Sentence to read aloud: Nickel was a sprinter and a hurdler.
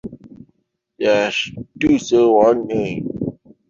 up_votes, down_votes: 0, 2